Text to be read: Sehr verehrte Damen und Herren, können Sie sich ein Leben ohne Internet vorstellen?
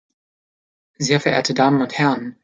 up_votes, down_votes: 0, 2